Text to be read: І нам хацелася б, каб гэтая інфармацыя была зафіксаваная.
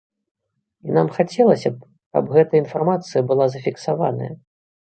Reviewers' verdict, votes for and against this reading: accepted, 2, 1